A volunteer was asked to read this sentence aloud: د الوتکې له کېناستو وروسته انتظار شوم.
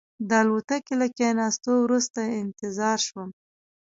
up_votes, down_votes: 1, 2